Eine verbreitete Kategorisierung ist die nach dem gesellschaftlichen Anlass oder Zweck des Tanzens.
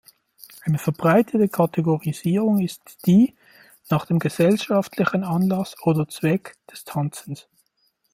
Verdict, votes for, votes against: rejected, 1, 2